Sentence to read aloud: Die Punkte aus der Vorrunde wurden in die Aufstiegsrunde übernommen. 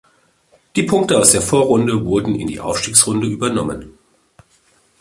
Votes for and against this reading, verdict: 2, 0, accepted